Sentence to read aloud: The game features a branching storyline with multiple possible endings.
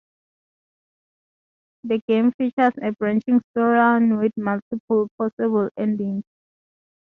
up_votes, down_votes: 0, 2